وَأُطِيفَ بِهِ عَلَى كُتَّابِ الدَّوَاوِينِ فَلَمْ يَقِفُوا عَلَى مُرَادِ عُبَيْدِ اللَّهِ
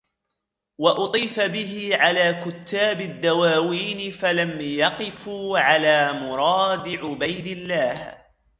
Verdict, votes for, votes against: accepted, 2, 0